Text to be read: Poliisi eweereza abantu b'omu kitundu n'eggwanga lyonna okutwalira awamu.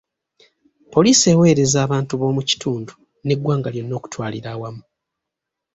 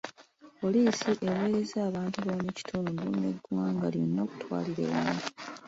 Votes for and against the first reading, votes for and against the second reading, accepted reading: 2, 0, 1, 2, first